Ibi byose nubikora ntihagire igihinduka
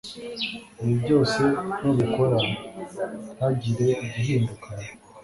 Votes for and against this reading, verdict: 2, 0, accepted